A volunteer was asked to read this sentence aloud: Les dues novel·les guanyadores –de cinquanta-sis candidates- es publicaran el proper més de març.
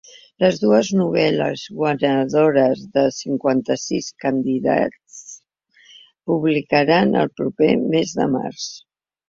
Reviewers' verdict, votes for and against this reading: rejected, 0, 2